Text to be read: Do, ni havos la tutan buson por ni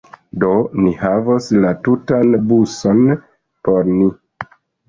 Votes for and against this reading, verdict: 0, 2, rejected